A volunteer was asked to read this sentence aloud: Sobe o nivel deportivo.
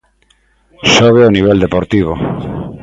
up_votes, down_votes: 2, 0